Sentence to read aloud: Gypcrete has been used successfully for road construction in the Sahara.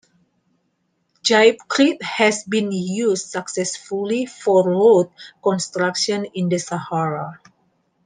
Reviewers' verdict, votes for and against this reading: accepted, 2, 0